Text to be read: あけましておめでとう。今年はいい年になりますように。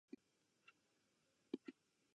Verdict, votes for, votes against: rejected, 0, 2